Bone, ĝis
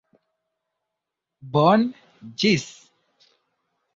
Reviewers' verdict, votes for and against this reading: accepted, 2, 0